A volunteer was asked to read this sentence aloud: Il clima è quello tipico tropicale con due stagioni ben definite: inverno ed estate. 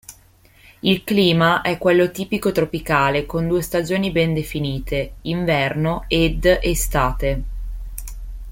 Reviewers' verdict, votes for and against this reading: accepted, 2, 0